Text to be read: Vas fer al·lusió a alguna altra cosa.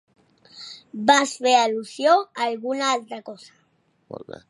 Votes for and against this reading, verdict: 2, 0, accepted